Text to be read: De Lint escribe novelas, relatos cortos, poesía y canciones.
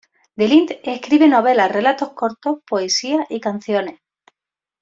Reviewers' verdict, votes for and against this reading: accepted, 2, 0